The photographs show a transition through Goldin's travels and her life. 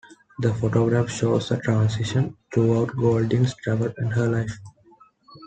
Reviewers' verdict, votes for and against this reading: rejected, 0, 2